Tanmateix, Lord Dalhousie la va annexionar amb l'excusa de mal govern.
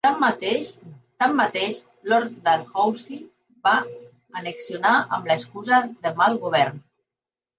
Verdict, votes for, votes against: rejected, 1, 2